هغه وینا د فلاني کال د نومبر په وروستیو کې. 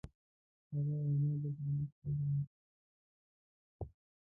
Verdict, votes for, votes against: rejected, 0, 2